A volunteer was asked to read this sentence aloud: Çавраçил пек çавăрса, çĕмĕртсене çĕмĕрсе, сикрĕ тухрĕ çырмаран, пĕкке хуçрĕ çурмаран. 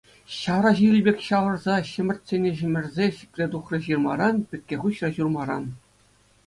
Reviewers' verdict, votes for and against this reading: accepted, 2, 0